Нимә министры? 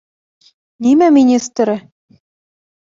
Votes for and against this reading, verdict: 2, 0, accepted